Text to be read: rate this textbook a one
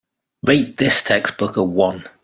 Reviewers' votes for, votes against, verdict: 2, 0, accepted